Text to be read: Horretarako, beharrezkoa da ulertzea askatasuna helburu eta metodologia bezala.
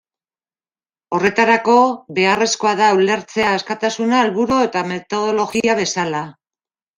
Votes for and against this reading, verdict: 2, 1, accepted